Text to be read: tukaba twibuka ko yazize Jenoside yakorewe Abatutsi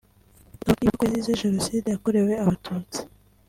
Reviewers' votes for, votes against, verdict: 2, 0, accepted